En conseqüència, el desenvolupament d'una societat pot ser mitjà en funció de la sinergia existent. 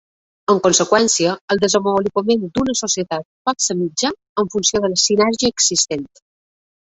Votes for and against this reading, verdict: 1, 2, rejected